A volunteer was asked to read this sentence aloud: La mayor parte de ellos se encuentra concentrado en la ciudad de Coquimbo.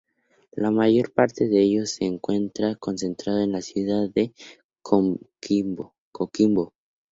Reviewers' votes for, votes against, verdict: 0, 2, rejected